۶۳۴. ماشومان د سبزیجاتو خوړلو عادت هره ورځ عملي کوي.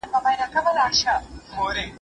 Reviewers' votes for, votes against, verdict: 0, 2, rejected